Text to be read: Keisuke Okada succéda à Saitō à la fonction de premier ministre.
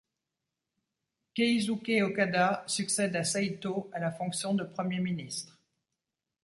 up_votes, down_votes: 1, 2